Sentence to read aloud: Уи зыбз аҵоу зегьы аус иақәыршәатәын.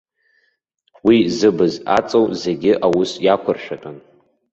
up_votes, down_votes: 2, 0